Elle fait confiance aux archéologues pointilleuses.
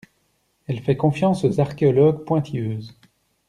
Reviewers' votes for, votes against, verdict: 2, 0, accepted